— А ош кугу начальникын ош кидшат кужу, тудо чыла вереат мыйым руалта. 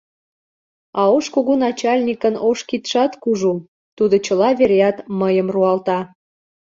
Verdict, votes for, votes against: accepted, 2, 0